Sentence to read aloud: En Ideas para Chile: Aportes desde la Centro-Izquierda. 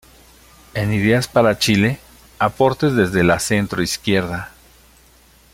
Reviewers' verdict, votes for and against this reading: accepted, 2, 0